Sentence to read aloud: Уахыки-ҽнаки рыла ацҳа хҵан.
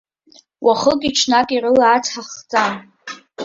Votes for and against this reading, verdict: 2, 0, accepted